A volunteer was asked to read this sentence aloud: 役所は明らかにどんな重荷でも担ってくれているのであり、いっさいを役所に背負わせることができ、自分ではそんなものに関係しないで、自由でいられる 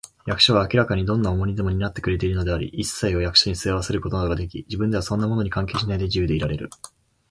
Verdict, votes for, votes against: accepted, 3, 0